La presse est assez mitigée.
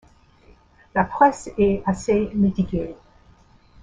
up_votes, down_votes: 0, 2